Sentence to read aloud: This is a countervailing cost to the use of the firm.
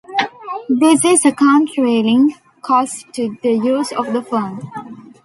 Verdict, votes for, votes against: rejected, 0, 2